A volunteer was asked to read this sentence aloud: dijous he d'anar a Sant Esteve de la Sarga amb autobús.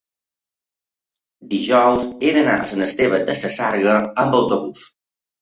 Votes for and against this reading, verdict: 2, 1, accepted